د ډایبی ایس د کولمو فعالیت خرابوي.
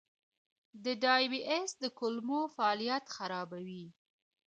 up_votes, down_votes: 2, 1